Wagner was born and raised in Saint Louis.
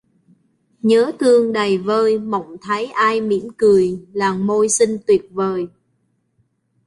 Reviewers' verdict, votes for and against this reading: rejected, 0, 2